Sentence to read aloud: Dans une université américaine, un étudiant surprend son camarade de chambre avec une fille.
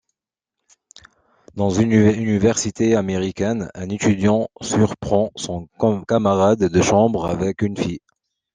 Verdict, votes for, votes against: rejected, 0, 2